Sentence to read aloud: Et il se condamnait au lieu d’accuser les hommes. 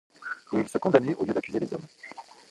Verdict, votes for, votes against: rejected, 0, 2